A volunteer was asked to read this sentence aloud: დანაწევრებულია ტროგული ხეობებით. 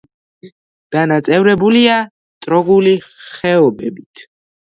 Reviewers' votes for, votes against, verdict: 2, 0, accepted